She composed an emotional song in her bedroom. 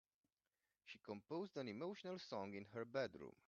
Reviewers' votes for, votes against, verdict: 0, 2, rejected